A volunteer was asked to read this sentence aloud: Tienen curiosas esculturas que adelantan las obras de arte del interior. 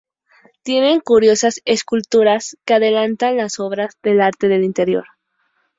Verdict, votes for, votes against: rejected, 0, 2